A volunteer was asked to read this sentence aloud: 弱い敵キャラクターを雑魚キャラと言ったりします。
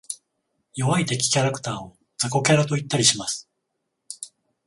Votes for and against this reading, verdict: 14, 0, accepted